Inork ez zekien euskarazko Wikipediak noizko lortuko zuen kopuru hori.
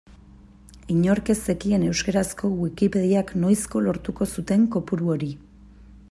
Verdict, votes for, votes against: rejected, 0, 2